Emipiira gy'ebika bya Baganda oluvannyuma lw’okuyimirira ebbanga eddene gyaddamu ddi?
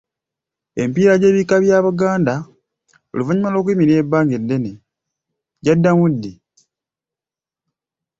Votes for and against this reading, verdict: 0, 2, rejected